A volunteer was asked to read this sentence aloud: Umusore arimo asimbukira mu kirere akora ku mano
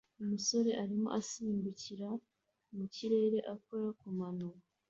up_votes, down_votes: 2, 0